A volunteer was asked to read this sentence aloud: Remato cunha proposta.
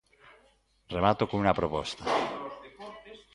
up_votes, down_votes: 2, 1